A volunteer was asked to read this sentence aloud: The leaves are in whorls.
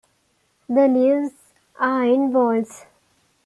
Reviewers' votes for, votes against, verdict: 2, 0, accepted